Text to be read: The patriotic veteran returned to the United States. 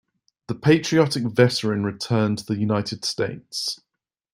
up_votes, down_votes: 2, 1